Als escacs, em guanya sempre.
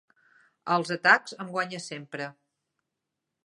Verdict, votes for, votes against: rejected, 0, 2